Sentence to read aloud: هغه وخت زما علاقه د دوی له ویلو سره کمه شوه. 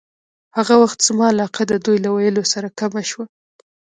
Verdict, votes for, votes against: rejected, 1, 2